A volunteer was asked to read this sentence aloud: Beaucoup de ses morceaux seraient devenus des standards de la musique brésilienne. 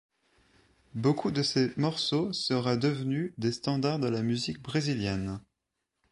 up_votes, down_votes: 1, 2